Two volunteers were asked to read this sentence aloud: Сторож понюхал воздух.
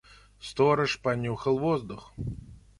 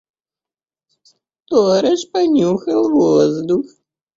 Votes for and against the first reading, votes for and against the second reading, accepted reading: 2, 0, 0, 2, first